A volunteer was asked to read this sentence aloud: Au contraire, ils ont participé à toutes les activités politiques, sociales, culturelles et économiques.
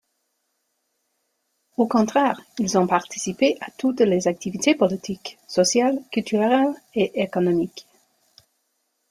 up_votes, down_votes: 2, 0